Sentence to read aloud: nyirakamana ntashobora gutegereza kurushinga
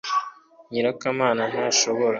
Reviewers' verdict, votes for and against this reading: rejected, 0, 3